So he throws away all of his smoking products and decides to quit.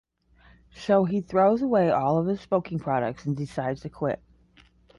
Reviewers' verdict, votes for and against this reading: accepted, 5, 0